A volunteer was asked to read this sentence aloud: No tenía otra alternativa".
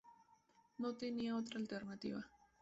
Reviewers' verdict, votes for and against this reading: rejected, 0, 2